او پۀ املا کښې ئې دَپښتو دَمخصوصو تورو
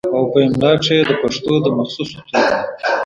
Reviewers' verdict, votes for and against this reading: rejected, 1, 2